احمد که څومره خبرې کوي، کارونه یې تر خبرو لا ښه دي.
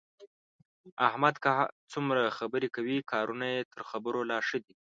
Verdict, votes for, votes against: accepted, 2, 0